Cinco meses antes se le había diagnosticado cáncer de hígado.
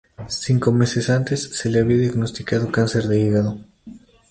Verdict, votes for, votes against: accepted, 2, 0